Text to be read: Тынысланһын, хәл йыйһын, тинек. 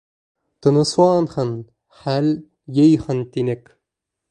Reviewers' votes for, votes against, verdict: 0, 2, rejected